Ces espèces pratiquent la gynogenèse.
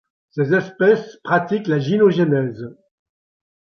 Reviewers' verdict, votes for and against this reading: accepted, 2, 0